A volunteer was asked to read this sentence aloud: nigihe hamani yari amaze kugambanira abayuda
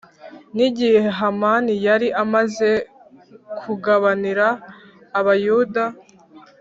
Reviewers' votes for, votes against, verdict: 1, 2, rejected